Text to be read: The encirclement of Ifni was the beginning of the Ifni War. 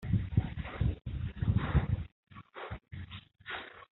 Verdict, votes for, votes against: rejected, 0, 2